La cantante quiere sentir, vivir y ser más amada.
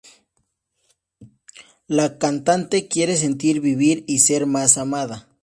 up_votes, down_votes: 2, 0